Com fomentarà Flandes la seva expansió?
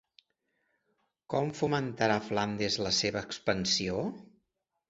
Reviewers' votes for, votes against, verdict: 2, 0, accepted